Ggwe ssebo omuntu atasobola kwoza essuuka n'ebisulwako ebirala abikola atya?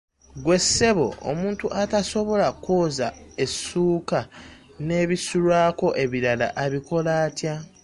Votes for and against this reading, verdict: 2, 0, accepted